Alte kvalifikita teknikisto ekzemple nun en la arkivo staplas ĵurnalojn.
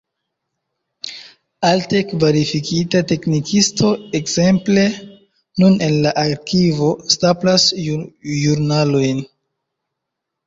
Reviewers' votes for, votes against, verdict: 2, 3, rejected